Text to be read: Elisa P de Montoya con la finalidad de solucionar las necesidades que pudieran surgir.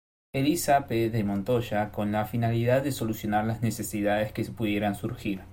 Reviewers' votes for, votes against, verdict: 0, 2, rejected